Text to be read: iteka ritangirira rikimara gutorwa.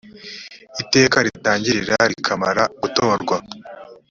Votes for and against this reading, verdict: 1, 2, rejected